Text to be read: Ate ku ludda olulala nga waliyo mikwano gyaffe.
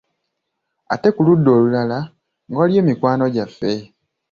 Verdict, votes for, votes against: rejected, 1, 3